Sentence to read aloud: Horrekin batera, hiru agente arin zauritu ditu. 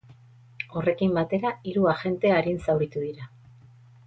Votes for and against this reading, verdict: 2, 2, rejected